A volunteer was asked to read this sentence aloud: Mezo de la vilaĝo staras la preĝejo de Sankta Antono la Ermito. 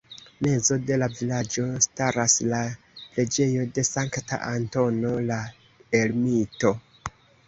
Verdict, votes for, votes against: accepted, 2, 0